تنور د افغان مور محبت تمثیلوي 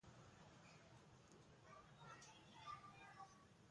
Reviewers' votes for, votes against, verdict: 1, 2, rejected